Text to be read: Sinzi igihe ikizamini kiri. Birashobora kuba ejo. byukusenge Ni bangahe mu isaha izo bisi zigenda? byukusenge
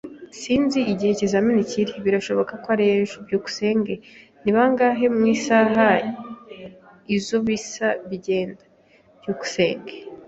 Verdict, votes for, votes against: rejected, 0, 2